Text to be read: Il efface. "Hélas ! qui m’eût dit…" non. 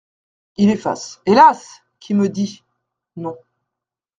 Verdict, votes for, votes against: rejected, 0, 2